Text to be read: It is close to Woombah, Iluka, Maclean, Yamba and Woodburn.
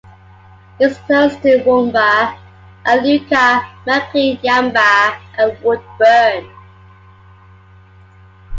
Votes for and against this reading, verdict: 2, 0, accepted